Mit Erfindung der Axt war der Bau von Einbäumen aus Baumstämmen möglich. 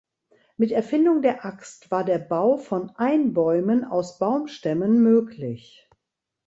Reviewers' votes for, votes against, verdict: 2, 0, accepted